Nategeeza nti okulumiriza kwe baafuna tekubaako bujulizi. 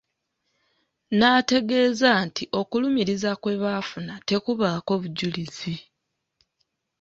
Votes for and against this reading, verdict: 2, 0, accepted